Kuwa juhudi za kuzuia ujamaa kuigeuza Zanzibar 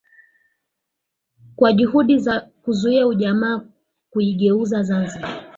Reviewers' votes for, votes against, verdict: 4, 1, accepted